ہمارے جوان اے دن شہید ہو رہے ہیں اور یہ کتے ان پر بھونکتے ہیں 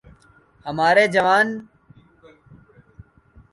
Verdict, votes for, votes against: rejected, 0, 2